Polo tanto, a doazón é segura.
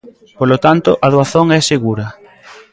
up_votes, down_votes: 2, 1